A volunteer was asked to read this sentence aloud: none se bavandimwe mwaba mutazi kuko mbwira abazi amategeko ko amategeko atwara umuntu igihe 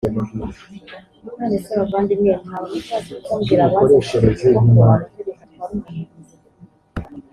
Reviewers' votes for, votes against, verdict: 0, 2, rejected